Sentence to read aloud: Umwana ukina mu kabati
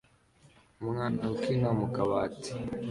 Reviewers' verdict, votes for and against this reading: accepted, 2, 0